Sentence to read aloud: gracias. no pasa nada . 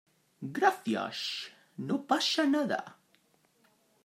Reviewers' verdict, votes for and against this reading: accepted, 2, 0